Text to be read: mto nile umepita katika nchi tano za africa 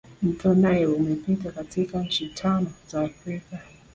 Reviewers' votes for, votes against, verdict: 2, 0, accepted